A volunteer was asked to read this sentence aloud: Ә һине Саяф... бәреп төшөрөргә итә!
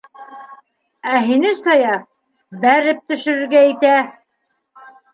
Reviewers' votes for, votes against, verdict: 2, 0, accepted